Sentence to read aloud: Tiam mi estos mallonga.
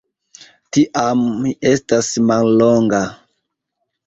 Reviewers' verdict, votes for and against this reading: rejected, 1, 2